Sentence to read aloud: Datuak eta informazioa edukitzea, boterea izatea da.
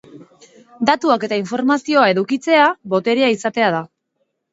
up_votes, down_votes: 2, 1